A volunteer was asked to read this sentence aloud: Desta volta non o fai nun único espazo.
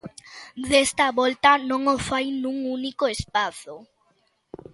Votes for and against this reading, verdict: 2, 0, accepted